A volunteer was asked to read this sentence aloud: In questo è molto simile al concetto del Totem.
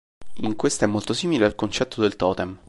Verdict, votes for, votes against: accepted, 2, 0